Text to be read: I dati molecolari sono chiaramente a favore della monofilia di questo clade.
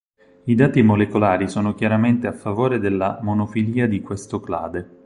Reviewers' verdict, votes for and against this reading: accepted, 4, 0